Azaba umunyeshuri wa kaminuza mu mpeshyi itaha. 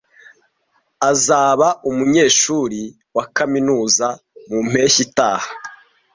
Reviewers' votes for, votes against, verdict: 2, 0, accepted